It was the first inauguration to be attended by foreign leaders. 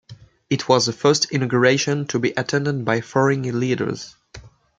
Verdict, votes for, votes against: rejected, 1, 2